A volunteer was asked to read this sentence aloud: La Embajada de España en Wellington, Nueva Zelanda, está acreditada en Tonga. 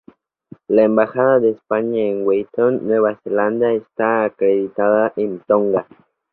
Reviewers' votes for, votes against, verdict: 2, 0, accepted